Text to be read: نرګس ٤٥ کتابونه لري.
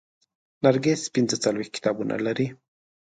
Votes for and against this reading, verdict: 0, 2, rejected